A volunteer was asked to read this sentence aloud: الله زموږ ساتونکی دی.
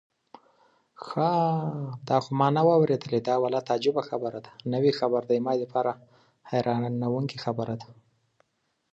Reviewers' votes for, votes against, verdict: 0, 2, rejected